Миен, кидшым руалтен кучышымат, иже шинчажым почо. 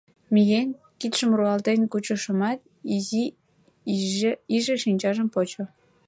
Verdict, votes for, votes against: rejected, 0, 2